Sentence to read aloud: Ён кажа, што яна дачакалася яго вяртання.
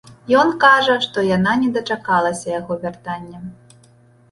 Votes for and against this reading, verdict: 0, 2, rejected